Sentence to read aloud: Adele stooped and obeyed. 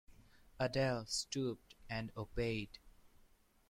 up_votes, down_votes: 2, 1